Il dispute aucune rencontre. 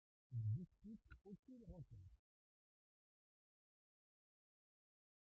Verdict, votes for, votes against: rejected, 0, 2